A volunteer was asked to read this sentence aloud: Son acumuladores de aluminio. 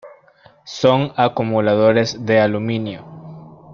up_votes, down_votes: 2, 0